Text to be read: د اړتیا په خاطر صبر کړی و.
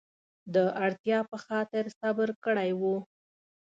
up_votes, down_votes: 2, 0